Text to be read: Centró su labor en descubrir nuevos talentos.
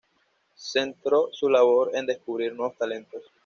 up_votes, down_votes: 2, 0